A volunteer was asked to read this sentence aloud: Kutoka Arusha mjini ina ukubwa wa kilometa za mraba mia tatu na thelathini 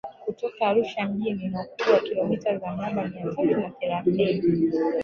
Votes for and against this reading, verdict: 3, 2, accepted